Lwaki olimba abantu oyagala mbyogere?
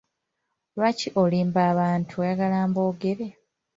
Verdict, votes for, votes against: rejected, 1, 2